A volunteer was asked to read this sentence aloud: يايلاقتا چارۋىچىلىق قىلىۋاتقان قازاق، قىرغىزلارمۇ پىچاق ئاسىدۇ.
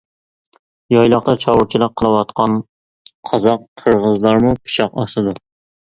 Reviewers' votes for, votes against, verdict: 2, 0, accepted